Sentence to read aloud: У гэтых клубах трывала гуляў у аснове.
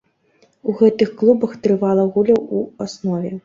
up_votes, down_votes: 1, 3